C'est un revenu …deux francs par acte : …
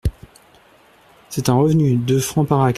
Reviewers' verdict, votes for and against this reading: rejected, 0, 2